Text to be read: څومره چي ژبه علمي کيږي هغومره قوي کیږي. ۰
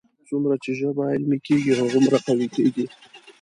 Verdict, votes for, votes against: rejected, 0, 2